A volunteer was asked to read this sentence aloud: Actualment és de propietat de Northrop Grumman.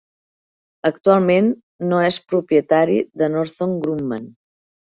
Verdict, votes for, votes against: rejected, 0, 4